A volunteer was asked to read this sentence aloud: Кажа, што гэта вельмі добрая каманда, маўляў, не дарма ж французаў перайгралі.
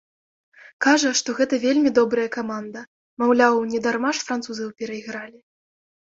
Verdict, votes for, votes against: accepted, 2, 0